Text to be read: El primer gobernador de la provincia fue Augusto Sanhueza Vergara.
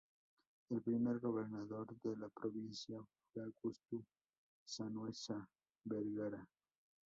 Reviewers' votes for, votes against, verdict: 0, 4, rejected